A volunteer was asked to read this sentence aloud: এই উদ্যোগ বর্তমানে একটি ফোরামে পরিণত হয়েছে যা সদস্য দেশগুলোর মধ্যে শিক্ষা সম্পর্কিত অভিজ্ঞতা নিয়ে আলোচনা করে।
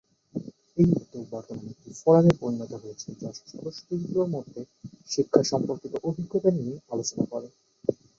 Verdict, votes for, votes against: rejected, 2, 2